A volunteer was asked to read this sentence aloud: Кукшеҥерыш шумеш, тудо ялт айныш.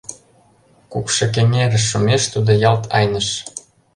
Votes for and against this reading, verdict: 1, 2, rejected